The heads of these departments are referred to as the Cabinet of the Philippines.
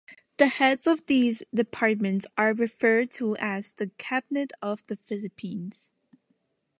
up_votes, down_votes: 2, 0